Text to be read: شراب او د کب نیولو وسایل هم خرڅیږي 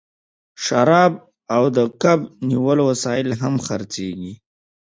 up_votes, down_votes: 3, 1